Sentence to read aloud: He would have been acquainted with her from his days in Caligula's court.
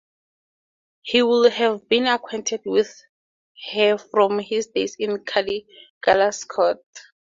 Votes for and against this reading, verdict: 0, 2, rejected